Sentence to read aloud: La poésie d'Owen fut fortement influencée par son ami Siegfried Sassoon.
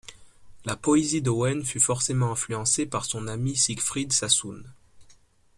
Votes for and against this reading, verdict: 0, 2, rejected